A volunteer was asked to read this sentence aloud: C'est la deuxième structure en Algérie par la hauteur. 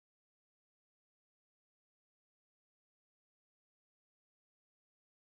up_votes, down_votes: 1, 2